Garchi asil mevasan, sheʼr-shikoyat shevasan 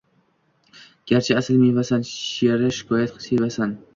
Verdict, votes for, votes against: rejected, 1, 2